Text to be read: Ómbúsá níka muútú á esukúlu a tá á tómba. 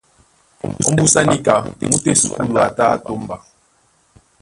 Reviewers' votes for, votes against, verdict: 2, 0, accepted